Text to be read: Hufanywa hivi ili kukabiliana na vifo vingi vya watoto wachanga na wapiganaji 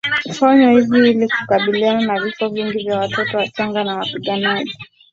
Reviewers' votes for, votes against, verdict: 2, 0, accepted